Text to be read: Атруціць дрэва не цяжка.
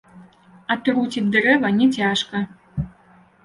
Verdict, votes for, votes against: accepted, 2, 0